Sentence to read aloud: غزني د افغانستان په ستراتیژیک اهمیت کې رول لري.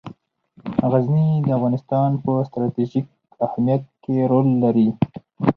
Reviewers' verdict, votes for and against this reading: rejected, 2, 2